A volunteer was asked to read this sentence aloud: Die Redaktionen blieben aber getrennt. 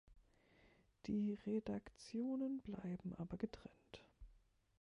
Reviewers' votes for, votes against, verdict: 0, 2, rejected